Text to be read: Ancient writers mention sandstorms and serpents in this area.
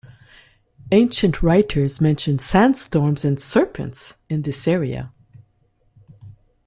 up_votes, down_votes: 3, 0